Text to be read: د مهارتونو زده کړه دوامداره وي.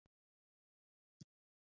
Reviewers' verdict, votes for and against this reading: accepted, 2, 1